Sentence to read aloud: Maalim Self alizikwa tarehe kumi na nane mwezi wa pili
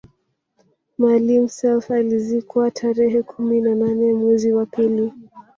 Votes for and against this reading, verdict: 2, 1, accepted